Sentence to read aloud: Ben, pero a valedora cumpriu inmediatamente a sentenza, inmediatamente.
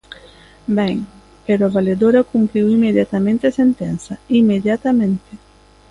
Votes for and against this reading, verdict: 2, 0, accepted